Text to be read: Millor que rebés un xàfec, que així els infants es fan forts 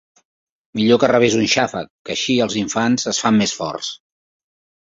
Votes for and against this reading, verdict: 1, 2, rejected